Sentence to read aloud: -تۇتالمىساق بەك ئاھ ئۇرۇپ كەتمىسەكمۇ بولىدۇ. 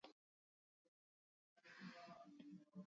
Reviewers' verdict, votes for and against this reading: rejected, 0, 2